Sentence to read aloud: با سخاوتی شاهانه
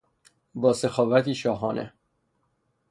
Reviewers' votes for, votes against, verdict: 6, 0, accepted